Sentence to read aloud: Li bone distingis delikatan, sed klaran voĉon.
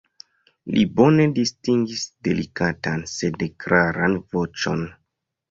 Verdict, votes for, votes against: accepted, 2, 0